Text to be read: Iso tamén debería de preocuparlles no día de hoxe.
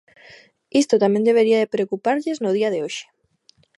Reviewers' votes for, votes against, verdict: 1, 2, rejected